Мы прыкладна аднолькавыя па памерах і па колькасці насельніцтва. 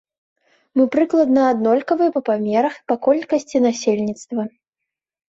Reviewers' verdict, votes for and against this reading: accepted, 2, 0